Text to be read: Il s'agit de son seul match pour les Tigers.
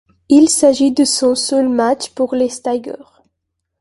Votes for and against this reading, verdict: 1, 2, rejected